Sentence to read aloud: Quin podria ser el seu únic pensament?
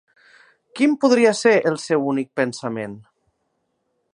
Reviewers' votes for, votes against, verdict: 2, 0, accepted